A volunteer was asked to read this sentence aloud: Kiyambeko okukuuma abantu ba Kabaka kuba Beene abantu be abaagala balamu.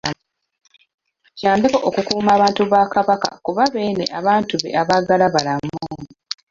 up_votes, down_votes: 0, 2